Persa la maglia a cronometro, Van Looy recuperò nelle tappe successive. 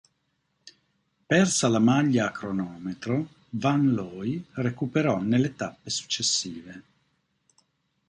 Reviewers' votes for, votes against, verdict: 2, 0, accepted